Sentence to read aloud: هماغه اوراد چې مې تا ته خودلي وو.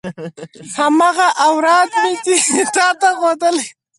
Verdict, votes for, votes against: rejected, 0, 4